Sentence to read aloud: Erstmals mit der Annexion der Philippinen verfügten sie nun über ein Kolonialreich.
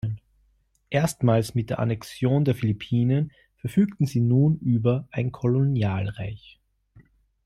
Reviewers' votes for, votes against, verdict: 2, 0, accepted